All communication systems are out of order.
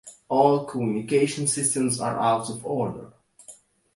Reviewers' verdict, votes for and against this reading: accepted, 2, 0